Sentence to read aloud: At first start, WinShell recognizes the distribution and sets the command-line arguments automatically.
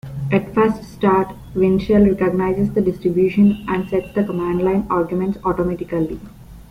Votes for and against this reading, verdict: 2, 0, accepted